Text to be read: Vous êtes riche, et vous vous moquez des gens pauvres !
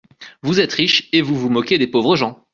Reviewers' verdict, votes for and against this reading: rejected, 0, 2